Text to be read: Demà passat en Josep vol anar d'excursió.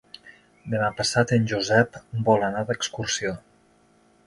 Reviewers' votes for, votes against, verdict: 3, 0, accepted